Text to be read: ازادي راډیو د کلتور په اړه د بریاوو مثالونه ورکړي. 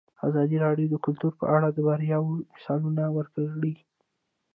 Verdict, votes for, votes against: rejected, 1, 2